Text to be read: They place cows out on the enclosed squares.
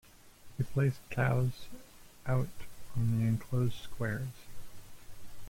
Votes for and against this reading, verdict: 1, 2, rejected